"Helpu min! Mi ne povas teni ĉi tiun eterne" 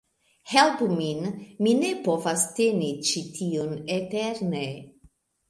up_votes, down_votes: 2, 0